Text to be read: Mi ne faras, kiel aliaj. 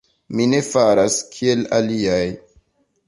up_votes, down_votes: 2, 0